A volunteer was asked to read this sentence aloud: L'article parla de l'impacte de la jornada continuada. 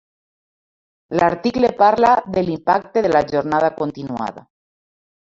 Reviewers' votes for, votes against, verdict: 2, 1, accepted